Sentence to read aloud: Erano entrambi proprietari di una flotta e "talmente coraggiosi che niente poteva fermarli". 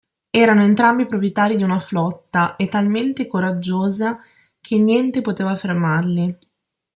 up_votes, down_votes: 0, 2